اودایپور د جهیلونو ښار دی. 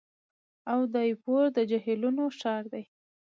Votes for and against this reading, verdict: 2, 1, accepted